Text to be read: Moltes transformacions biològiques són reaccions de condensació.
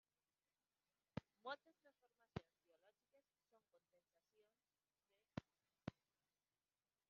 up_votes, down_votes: 0, 2